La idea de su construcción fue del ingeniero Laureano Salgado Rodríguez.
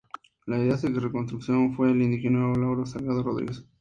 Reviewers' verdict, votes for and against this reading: accepted, 2, 0